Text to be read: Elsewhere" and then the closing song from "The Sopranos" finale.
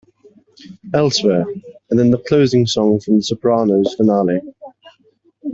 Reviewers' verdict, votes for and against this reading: accepted, 2, 1